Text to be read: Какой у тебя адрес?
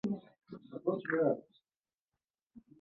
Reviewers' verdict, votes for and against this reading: rejected, 0, 2